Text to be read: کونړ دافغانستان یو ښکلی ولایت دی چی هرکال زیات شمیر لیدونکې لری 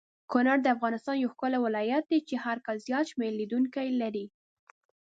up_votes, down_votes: 1, 2